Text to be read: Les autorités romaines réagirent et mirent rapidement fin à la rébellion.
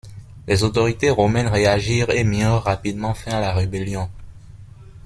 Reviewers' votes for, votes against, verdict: 2, 0, accepted